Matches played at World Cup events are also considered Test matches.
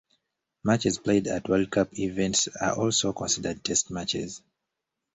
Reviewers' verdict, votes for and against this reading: accepted, 2, 0